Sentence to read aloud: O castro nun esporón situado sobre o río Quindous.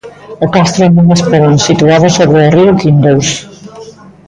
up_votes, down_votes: 0, 2